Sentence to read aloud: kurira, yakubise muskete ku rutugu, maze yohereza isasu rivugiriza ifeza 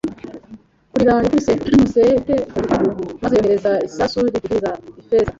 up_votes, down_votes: 0, 2